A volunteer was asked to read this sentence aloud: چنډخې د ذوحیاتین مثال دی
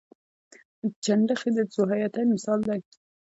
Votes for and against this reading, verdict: 0, 2, rejected